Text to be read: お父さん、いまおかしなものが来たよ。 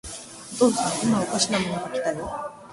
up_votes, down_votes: 2, 2